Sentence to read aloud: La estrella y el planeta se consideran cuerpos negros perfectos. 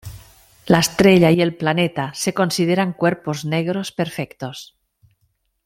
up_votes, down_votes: 3, 0